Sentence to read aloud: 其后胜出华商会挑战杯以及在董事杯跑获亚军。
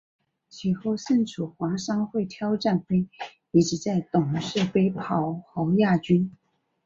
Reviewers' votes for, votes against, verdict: 6, 0, accepted